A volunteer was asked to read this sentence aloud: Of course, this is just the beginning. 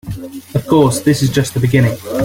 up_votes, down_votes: 2, 1